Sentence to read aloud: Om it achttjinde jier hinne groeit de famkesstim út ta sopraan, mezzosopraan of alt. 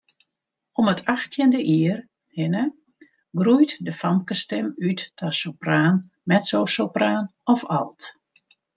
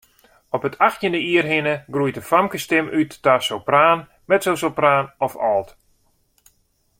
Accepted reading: first